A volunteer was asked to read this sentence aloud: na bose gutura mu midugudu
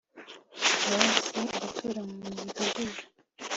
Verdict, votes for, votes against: accepted, 2, 0